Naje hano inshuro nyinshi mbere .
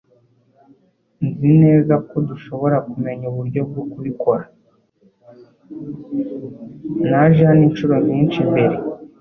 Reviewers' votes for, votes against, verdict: 1, 2, rejected